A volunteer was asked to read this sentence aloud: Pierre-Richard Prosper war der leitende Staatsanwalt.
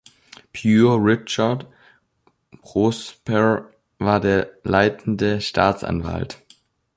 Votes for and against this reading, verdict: 2, 3, rejected